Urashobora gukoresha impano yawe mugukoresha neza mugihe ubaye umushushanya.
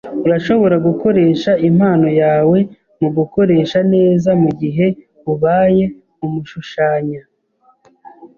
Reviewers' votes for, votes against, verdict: 2, 0, accepted